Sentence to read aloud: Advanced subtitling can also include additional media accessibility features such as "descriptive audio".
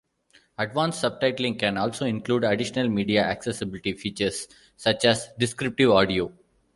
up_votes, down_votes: 2, 0